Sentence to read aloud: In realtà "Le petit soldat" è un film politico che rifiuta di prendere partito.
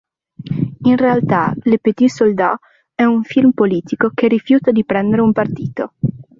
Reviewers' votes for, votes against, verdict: 2, 3, rejected